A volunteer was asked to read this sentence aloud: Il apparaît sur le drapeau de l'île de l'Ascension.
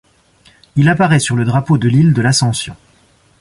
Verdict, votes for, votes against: accepted, 2, 0